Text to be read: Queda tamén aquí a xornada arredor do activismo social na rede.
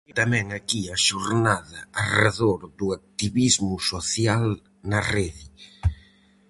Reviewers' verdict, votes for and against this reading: rejected, 2, 2